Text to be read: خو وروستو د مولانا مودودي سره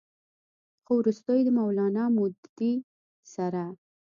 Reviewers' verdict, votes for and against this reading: accepted, 3, 0